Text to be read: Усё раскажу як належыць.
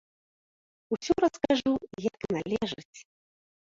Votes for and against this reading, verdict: 1, 2, rejected